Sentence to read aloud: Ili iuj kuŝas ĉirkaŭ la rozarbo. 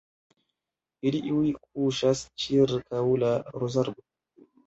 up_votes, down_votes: 1, 2